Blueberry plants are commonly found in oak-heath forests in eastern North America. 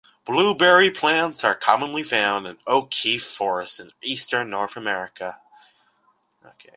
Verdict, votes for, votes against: rejected, 1, 2